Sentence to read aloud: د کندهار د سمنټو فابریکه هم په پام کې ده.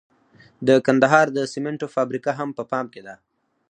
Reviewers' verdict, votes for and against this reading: rejected, 2, 4